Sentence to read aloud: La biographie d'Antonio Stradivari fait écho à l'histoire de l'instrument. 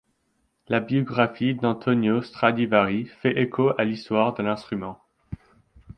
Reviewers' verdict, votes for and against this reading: accepted, 2, 0